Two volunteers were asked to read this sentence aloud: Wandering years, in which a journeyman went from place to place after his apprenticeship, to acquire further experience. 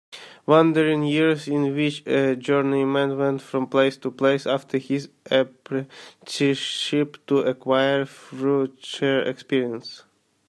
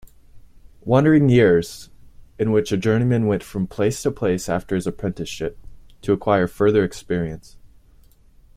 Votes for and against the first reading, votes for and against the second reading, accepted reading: 0, 2, 2, 0, second